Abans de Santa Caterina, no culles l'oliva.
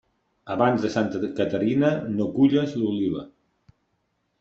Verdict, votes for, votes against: rejected, 1, 2